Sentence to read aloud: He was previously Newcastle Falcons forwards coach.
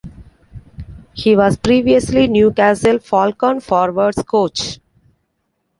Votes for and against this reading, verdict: 0, 2, rejected